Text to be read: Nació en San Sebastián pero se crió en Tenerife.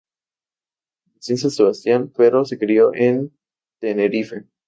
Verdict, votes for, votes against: rejected, 0, 2